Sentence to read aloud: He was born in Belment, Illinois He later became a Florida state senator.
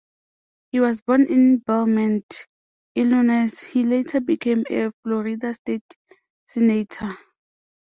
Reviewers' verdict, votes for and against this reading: rejected, 0, 2